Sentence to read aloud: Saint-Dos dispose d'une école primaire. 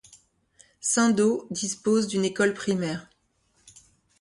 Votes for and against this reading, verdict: 2, 0, accepted